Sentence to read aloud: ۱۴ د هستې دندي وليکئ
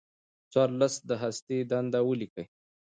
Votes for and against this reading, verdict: 0, 2, rejected